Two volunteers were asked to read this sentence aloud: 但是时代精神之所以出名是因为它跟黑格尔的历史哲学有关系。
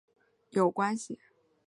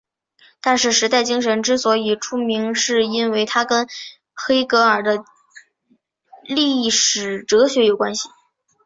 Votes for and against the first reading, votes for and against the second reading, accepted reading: 0, 3, 3, 0, second